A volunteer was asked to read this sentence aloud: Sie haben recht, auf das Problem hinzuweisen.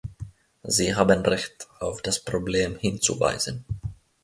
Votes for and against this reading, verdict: 2, 0, accepted